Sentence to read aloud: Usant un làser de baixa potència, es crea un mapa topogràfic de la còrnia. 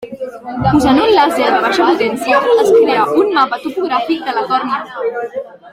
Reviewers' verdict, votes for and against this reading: rejected, 0, 2